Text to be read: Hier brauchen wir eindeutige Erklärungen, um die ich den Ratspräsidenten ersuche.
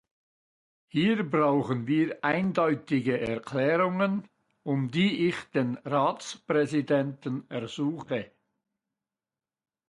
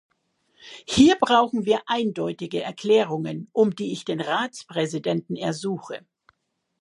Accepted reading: second